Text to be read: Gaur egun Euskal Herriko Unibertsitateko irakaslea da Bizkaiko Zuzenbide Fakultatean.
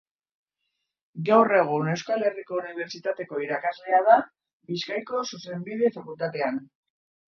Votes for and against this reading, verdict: 2, 0, accepted